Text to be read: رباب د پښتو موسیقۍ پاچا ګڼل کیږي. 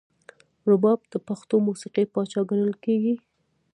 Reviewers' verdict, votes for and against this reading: rejected, 0, 2